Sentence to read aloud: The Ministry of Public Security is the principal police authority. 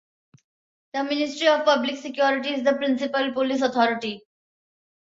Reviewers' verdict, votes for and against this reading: accepted, 2, 0